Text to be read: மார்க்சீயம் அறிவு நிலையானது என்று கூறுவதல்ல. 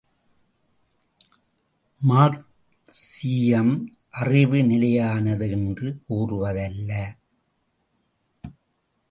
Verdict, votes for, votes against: rejected, 1, 2